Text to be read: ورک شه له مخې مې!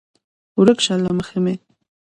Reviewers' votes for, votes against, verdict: 0, 2, rejected